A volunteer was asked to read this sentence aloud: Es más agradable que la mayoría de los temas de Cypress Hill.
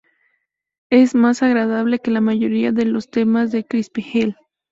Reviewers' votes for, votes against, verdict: 0, 4, rejected